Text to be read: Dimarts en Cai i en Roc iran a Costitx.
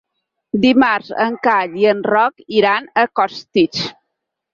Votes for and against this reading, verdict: 4, 0, accepted